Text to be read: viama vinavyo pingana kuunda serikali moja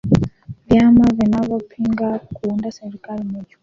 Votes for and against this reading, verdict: 2, 1, accepted